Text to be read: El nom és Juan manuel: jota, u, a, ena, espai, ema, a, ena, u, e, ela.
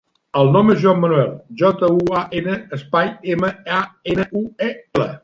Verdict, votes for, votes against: rejected, 1, 2